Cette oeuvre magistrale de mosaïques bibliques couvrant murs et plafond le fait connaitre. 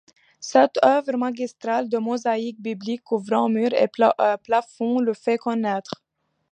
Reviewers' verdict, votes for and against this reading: rejected, 0, 2